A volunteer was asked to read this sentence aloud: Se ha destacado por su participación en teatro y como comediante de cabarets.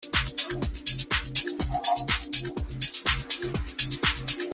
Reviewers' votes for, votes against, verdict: 0, 3, rejected